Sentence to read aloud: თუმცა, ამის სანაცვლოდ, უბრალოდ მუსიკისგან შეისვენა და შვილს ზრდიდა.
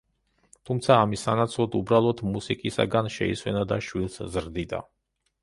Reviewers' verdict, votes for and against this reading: rejected, 1, 2